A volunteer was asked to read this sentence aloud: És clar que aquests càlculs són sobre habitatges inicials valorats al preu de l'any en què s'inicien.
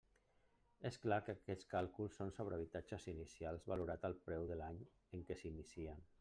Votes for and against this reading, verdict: 1, 2, rejected